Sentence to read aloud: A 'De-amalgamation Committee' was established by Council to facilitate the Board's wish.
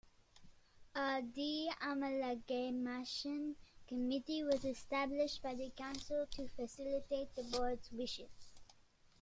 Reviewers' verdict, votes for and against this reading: rejected, 0, 2